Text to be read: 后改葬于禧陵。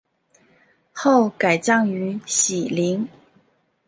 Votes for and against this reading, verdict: 2, 0, accepted